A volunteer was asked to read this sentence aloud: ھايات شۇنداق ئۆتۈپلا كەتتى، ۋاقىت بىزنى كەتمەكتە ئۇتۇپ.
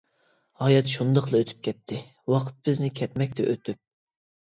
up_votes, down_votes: 1, 2